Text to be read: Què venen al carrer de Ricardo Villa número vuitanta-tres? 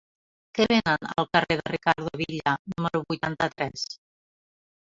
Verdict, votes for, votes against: accepted, 2, 0